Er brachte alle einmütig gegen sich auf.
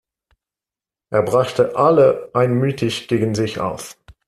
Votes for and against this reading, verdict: 2, 0, accepted